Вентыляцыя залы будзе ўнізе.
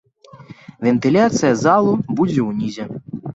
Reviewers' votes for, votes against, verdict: 2, 1, accepted